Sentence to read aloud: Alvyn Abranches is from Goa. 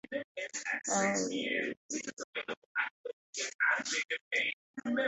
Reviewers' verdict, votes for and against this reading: rejected, 0, 2